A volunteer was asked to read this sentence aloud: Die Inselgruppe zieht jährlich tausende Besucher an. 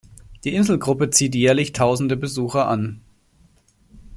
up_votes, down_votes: 2, 0